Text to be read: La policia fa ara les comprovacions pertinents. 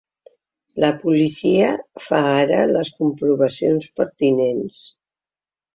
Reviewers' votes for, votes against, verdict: 3, 0, accepted